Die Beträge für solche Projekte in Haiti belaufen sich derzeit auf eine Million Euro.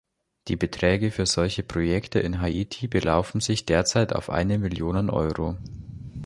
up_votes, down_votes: 1, 2